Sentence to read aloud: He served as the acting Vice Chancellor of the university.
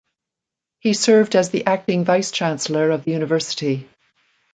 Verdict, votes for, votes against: accepted, 2, 0